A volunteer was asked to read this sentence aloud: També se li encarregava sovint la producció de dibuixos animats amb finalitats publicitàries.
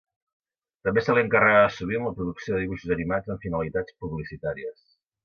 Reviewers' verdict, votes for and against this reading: rejected, 0, 2